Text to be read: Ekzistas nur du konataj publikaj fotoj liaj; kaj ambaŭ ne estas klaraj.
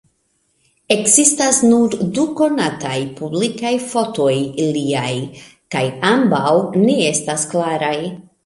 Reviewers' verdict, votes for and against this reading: rejected, 1, 2